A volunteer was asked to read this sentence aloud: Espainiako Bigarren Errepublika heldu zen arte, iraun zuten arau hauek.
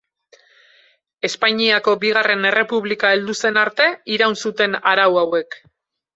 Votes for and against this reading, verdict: 4, 0, accepted